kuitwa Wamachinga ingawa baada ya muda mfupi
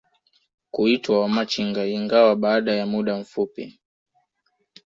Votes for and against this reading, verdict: 2, 0, accepted